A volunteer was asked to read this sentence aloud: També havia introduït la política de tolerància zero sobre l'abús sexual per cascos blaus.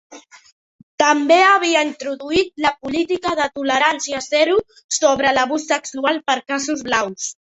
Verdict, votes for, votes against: accepted, 2, 0